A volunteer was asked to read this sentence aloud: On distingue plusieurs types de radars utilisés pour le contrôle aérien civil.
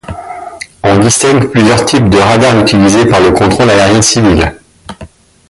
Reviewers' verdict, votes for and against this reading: rejected, 1, 2